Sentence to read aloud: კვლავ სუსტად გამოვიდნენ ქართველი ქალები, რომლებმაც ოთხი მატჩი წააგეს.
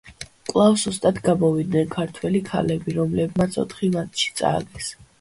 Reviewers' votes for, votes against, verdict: 1, 2, rejected